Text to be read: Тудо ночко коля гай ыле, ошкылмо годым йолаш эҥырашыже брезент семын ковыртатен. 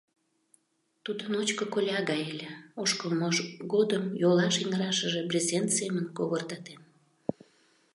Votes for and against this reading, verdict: 0, 2, rejected